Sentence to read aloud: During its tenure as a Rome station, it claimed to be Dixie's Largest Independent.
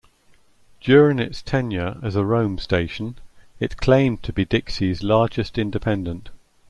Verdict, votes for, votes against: accepted, 2, 0